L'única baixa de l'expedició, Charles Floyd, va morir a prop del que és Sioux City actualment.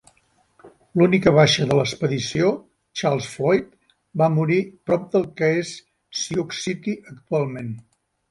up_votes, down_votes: 2, 3